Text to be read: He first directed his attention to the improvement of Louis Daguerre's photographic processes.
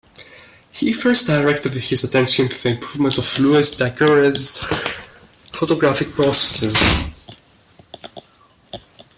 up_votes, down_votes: 1, 2